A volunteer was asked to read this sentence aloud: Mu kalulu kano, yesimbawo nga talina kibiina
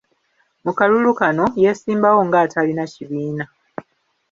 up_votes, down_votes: 2, 0